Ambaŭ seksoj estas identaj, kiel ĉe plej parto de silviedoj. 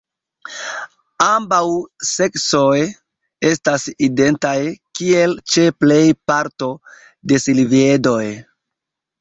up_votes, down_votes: 2, 0